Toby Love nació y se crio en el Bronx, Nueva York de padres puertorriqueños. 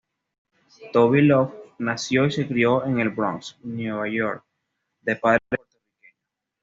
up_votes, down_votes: 1, 2